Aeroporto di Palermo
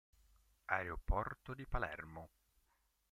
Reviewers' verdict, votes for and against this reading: rejected, 1, 2